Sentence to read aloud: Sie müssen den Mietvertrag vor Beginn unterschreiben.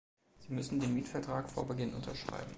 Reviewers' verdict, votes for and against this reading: accepted, 3, 0